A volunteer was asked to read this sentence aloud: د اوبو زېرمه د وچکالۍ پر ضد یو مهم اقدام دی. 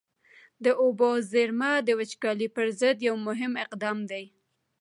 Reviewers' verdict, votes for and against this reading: accepted, 2, 0